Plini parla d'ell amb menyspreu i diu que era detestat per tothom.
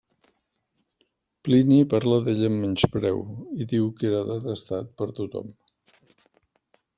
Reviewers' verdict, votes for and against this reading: accepted, 2, 1